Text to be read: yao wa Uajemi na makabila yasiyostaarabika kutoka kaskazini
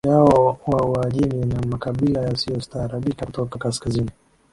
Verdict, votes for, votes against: rejected, 1, 2